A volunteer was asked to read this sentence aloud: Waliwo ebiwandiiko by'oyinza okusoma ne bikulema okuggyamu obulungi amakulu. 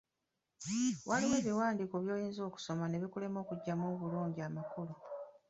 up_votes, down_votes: 2, 0